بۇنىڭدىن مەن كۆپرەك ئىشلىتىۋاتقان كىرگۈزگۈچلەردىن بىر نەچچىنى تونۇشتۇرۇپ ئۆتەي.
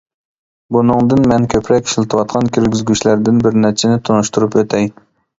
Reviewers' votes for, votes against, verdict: 2, 0, accepted